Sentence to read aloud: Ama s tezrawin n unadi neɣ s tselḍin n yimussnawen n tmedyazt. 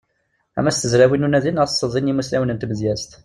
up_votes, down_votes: 1, 2